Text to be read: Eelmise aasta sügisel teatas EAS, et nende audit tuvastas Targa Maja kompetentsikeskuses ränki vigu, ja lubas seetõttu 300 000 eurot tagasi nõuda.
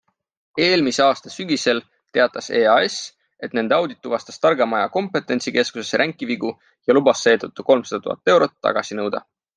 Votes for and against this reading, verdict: 0, 2, rejected